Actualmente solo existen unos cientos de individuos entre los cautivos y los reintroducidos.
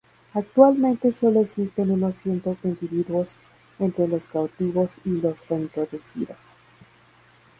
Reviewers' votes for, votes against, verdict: 4, 2, accepted